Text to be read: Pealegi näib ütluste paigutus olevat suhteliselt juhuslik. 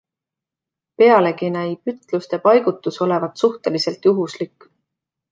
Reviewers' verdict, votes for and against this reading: accepted, 2, 0